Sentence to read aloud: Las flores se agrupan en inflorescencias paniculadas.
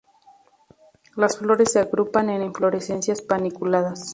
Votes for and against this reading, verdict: 2, 0, accepted